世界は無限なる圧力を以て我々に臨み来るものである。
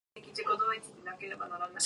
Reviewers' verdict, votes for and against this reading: rejected, 1, 2